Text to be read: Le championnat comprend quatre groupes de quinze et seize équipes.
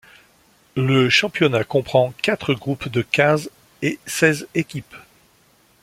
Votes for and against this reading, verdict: 3, 0, accepted